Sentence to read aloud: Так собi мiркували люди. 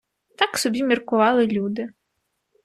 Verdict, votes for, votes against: accepted, 2, 1